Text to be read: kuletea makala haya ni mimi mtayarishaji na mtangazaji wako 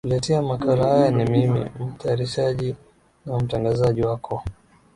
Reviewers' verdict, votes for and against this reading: rejected, 0, 2